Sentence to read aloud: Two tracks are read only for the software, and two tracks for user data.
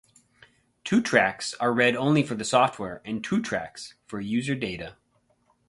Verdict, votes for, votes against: accepted, 4, 0